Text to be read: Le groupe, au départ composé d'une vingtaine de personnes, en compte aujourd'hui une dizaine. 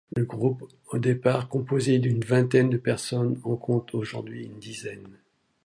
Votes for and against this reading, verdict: 0, 2, rejected